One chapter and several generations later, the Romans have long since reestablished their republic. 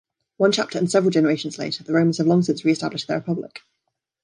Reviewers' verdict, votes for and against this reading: rejected, 0, 2